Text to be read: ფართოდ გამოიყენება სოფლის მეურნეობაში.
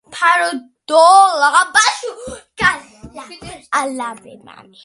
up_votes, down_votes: 0, 2